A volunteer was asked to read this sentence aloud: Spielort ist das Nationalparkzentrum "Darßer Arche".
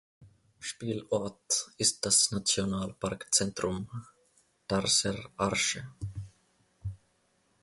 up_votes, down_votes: 0, 2